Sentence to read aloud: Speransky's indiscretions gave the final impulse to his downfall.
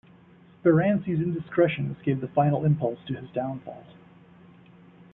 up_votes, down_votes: 0, 2